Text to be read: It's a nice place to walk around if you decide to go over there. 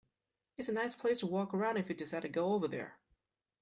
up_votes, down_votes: 2, 0